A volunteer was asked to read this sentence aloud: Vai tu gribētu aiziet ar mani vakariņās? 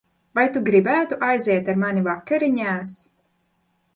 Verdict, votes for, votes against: accepted, 2, 0